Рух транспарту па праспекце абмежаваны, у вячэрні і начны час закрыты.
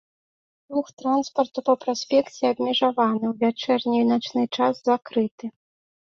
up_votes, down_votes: 2, 0